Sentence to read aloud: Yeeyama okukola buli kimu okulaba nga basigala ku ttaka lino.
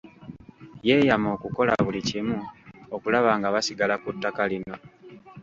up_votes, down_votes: 2, 1